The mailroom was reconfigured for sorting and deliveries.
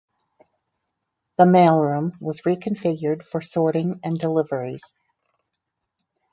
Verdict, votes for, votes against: accepted, 4, 0